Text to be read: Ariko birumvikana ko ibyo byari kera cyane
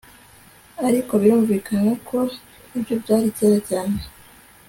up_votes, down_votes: 2, 0